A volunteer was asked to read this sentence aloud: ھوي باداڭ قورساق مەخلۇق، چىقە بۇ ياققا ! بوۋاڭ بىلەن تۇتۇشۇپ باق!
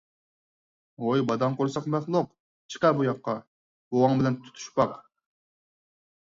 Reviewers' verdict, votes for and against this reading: accepted, 4, 0